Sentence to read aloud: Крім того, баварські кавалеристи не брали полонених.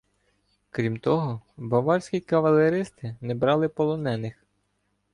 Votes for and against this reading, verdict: 1, 2, rejected